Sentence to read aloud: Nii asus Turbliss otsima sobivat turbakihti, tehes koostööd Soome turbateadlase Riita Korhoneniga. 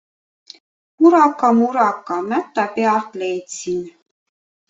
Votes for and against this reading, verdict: 0, 2, rejected